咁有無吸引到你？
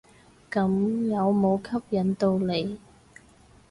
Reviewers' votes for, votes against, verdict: 2, 2, rejected